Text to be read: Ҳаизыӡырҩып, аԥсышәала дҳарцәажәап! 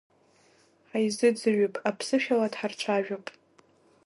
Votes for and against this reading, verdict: 1, 2, rejected